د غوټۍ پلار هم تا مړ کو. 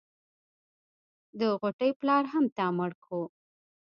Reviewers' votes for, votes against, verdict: 1, 2, rejected